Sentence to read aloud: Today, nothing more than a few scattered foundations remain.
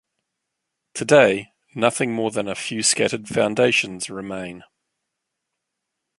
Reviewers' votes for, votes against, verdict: 2, 0, accepted